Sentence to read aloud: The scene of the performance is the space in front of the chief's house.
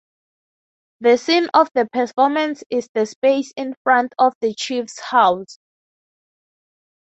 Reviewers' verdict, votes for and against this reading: accepted, 3, 0